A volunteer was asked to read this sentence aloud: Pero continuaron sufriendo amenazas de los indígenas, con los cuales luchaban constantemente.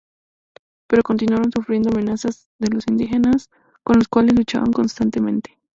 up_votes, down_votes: 2, 0